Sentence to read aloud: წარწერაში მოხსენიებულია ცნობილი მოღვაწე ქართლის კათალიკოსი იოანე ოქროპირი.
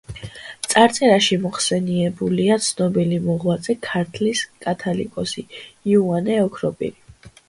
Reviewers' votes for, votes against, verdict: 1, 2, rejected